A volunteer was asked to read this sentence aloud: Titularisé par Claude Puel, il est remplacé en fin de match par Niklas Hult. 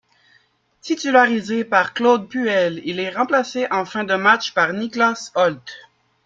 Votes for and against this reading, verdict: 2, 0, accepted